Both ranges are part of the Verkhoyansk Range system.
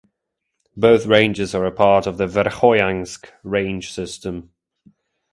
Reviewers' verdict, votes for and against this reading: rejected, 1, 2